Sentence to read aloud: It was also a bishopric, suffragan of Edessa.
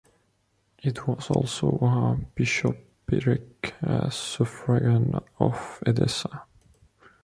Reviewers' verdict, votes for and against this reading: rejected, 1, 2